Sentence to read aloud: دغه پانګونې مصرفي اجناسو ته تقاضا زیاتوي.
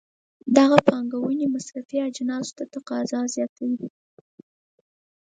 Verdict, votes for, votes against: accepted, 4, 0